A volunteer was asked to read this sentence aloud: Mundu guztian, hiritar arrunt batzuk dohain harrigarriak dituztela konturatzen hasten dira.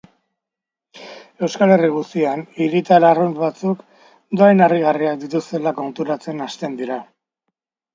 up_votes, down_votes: 2, 1